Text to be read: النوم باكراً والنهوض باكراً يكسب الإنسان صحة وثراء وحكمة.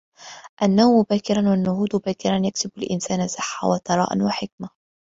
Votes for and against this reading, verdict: 1, 2, rejected